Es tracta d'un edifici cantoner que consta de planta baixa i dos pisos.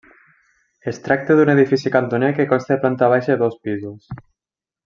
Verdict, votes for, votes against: rejected, 0, 2